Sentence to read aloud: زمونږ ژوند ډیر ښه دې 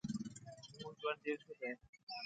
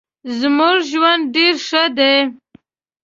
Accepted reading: second